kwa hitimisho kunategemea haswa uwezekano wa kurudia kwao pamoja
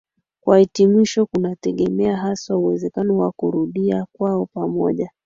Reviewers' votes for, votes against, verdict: 3, 0, accepted